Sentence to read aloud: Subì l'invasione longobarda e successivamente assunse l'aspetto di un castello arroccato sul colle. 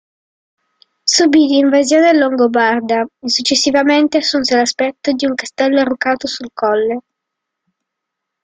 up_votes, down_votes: 2, 0